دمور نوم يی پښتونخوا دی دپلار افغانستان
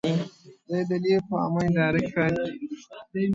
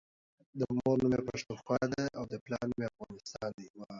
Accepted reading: second